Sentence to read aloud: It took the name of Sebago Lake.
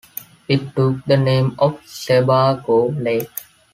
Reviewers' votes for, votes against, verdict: 2, 1, accepted